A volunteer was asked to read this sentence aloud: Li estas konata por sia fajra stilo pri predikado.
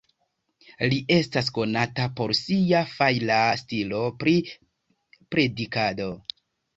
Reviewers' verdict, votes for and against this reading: rejected, 0, 2